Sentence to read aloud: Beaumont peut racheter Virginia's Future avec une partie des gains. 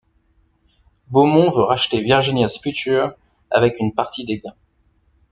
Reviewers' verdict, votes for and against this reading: rejected, 1, 2